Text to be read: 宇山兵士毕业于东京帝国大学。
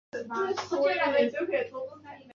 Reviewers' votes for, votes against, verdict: 0, 3, rejected